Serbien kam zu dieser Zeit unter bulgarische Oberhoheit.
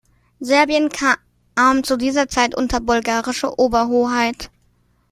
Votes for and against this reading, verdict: 1, 2, rejected